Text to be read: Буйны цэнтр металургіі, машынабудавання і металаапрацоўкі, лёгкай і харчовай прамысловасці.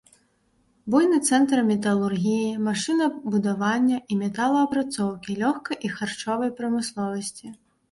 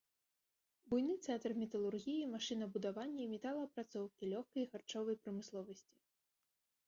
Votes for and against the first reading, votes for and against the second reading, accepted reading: 2, 0, 1, 3, first